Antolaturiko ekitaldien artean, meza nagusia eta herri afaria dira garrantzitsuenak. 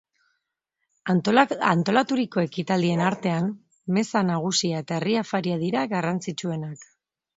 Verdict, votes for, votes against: rejected, 0, 2